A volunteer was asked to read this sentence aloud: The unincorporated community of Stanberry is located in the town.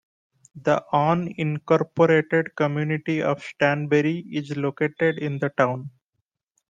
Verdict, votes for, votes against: accepted, 2, 0